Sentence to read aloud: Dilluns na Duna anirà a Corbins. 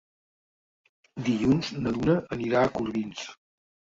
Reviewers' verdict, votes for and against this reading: rejected, 0, 2